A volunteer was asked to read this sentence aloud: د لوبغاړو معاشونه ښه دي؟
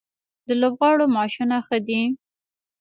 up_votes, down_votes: 1, 2